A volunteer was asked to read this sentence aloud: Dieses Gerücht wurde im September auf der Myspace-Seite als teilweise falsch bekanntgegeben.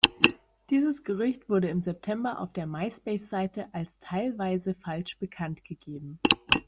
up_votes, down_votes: 2, 0